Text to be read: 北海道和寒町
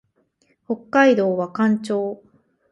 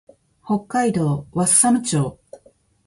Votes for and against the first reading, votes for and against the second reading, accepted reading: 0, 4, 3, 1, second